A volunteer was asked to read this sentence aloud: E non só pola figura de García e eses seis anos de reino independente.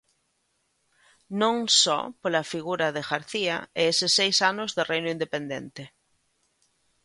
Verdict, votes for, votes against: rejected, 0, 2